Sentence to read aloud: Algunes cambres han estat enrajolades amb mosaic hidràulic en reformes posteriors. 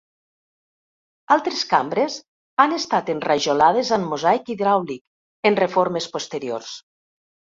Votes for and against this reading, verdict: 1, 2, rejected